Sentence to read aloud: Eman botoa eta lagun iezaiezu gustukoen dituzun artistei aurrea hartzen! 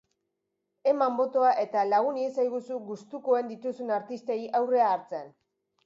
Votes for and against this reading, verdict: 1, 2, rejected